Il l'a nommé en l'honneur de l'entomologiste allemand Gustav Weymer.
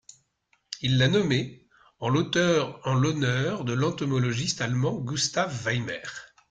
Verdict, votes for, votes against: rejected, 0, 2